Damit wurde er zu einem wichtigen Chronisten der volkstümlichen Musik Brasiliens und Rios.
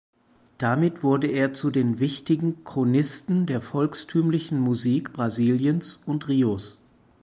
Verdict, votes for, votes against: rejected, 2, 4